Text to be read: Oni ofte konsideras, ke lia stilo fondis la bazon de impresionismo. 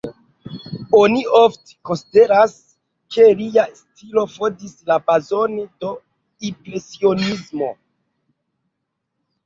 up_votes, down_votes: 0, 2